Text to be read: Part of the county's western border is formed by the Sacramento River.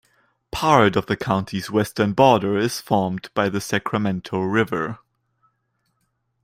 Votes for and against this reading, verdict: 2, 0, accepted